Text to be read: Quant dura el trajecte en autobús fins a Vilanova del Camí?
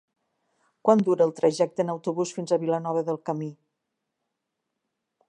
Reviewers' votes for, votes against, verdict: 3, 0, accepted